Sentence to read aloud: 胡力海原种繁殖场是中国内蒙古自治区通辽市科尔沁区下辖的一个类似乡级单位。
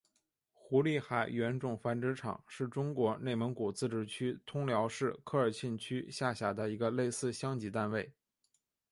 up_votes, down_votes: 4, 0